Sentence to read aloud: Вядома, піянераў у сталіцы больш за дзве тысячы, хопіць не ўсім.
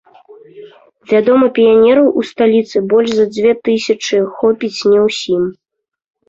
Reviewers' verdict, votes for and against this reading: accepted, 2, 0